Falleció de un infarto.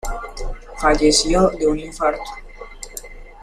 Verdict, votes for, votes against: accepted, 2, 0